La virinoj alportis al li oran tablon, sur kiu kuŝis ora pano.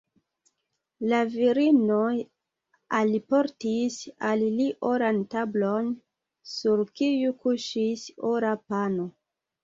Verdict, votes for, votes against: rejected, 1, 2